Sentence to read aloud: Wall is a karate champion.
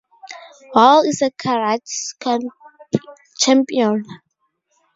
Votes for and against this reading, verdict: 0, 2, rejected